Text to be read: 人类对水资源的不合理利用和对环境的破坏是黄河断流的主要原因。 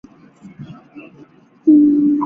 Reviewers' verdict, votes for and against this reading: rejected, 0, 2